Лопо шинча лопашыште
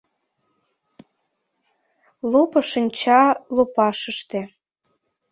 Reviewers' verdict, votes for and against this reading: accepted, 2, 0